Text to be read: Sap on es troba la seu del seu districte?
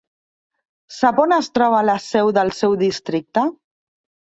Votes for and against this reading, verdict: 4, 0, accepted